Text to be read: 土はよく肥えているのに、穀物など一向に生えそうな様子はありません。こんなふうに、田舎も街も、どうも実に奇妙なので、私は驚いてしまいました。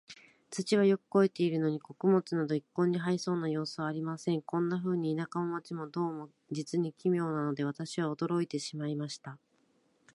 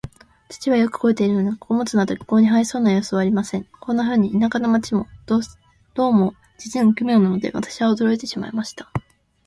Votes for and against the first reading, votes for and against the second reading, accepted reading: 2, 0, 1, 2, first